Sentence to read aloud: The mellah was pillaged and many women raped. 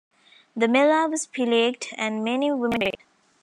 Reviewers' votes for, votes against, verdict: 0, 2, rejected